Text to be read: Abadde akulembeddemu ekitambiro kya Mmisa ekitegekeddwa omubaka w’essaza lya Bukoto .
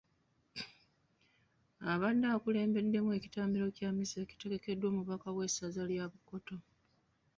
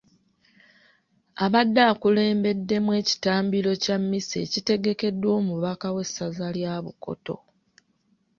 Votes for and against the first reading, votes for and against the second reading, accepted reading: 1, 2, 2, 0, second